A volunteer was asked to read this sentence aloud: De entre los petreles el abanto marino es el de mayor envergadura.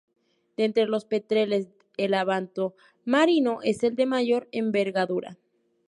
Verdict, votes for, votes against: accepted, 2, 0